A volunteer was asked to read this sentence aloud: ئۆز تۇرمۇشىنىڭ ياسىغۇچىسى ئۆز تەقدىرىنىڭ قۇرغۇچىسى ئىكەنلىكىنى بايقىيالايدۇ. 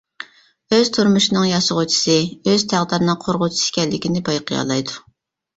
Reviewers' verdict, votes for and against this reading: accepted, 2, 0